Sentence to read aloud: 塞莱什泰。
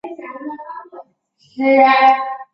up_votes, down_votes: 2, 0